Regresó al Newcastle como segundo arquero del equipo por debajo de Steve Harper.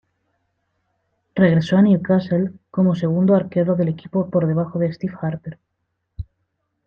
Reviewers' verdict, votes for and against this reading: accepted, 2, 0